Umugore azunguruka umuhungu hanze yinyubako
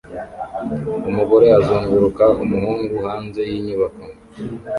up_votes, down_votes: 2, 0